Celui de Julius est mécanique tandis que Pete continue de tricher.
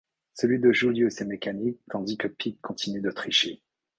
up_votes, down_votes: 2, 0